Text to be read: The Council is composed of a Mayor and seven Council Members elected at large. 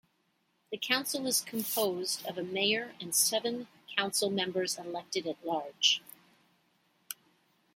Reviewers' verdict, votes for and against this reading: accepted, 2, 0